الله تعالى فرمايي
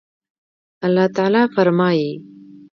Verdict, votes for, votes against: accepted, 2, 0